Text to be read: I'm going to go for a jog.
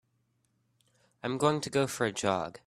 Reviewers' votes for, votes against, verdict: 2, 0, accepted